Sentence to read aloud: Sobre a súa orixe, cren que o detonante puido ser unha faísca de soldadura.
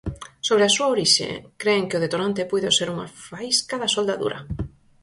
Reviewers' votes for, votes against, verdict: 2, 4, rejected